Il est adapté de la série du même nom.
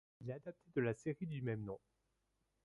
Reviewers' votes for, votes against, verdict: 1, 2, rejected